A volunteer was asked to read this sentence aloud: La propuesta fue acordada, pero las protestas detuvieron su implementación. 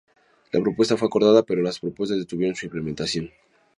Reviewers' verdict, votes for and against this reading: rejected, 2, 4